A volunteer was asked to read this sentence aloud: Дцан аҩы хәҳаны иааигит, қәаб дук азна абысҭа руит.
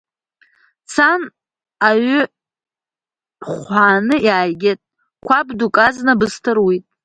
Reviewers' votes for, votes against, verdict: 1, 2, rejected